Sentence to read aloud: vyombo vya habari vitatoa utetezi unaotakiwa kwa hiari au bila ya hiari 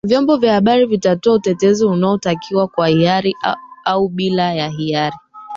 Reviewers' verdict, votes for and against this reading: accepted, 2, 1